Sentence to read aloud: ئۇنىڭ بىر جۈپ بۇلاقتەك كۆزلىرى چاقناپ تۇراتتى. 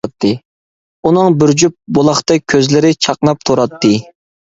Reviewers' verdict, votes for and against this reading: rejected, 0, 2